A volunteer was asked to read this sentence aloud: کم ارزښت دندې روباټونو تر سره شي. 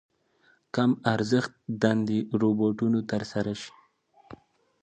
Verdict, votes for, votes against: accepted, 2, 0